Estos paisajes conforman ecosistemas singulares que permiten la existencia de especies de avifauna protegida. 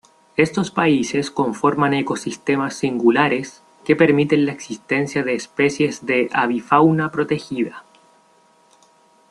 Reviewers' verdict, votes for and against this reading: rejected, 1, 2